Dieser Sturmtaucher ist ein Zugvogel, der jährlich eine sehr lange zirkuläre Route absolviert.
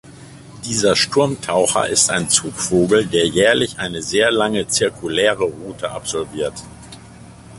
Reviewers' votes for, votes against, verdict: 2, 0, accepted